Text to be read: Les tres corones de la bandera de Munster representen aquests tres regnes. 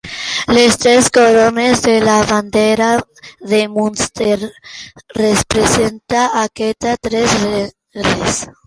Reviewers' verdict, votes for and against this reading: rejected, 1, 3